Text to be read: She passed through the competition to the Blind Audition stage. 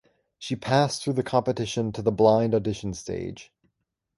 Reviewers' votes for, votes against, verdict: 2, 0, accepted